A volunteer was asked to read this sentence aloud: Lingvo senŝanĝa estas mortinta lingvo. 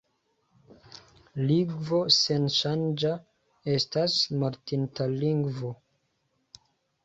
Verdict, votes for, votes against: rejected, 0, 2